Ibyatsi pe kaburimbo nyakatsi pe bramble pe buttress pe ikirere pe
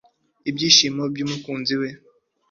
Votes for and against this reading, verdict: 0, 2, rejected